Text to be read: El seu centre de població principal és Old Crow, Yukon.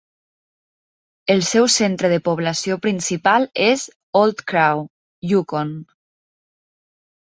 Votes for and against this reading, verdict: 3, 0, accepted